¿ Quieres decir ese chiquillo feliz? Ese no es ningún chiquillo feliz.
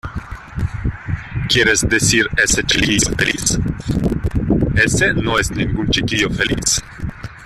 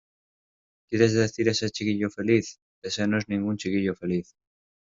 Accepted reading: second